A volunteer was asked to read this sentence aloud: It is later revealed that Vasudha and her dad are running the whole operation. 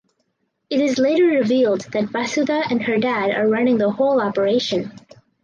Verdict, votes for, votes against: accepted, 4, 0